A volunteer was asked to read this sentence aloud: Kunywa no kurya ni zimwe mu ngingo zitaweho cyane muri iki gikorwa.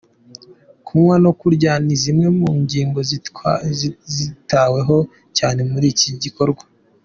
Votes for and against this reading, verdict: 0, 2, rejected